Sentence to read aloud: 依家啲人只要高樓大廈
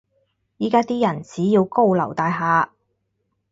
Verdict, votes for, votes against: accepted, 4, 0